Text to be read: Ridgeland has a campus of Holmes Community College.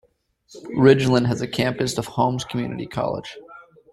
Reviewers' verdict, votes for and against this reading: accepted, 2, 1